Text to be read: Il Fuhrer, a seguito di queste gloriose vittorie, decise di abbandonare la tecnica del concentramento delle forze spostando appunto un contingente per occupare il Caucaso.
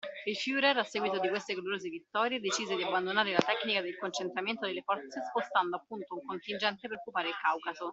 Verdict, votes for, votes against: rejected, 1, 2